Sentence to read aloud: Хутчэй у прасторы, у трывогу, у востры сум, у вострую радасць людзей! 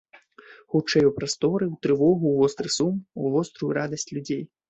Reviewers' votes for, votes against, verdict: 2, 0, accepted